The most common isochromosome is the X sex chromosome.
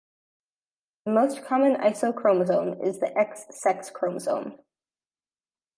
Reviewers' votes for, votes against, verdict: 2, 0, accepted